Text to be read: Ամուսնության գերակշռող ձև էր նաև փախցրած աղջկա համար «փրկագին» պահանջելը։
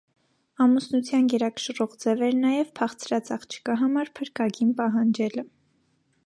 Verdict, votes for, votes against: accepted, 2, 0